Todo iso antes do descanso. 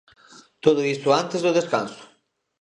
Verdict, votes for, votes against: rejected, 0, 2